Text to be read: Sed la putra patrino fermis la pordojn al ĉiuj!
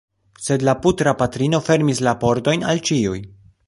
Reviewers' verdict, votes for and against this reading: rejected, 1, 2